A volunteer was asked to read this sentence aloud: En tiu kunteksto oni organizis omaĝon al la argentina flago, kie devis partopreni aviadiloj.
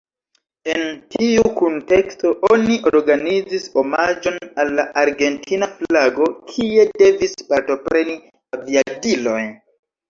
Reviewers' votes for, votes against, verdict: 1, 2, rejected